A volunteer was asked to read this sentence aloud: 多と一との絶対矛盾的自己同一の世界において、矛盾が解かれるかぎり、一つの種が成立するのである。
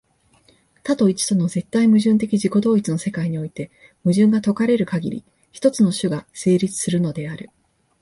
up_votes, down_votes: 2, 0